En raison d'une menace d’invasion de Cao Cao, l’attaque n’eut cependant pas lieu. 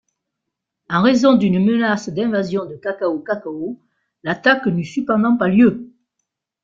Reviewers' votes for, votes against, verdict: 0, 2, rejected